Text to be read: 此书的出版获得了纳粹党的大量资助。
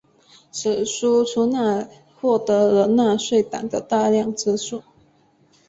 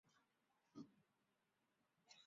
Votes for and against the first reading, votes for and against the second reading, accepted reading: 5, 0, 1, 4, first